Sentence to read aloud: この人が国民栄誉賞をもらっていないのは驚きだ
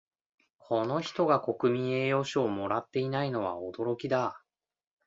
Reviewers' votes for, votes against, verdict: 2, 0, accepted